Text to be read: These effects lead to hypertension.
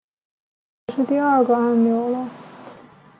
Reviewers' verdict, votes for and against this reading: rejected, 0, 2